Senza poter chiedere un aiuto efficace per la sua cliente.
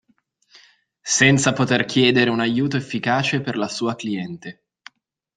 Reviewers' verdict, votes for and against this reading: accepted, 2, 0